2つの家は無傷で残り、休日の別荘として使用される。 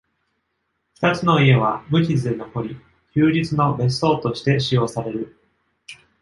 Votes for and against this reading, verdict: 0, 2, rejected